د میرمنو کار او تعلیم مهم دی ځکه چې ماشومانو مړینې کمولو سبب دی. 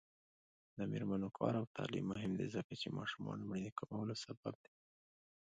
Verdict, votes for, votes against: rejected, 0, 2